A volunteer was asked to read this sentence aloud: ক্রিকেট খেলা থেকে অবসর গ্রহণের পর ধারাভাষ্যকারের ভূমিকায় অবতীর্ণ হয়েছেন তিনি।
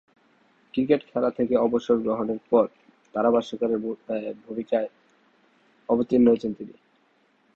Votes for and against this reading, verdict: 2, 3, rejected